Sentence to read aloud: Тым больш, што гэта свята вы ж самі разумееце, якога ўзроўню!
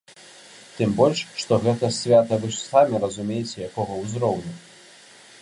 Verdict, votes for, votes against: accepted, 2, 0